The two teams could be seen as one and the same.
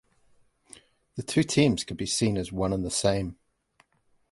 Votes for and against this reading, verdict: 2, 0, accepted